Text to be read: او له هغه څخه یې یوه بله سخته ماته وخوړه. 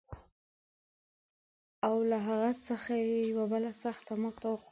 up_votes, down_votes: 1, 2